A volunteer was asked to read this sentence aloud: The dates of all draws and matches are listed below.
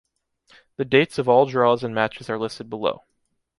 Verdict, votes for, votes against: accepted, 2, 0